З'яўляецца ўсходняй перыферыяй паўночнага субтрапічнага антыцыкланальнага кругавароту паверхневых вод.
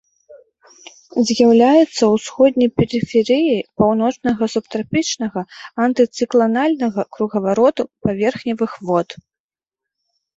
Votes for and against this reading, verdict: 2, 0, accepted